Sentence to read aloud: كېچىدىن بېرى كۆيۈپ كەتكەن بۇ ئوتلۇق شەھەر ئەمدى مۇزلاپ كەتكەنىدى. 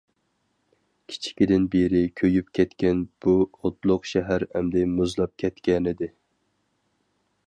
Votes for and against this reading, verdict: 2, 2, rejected